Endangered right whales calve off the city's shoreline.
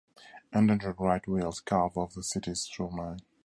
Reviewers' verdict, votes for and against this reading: accepted, 2, 0